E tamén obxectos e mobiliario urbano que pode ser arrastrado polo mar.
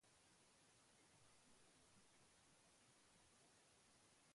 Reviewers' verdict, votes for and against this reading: rejected, 0, 2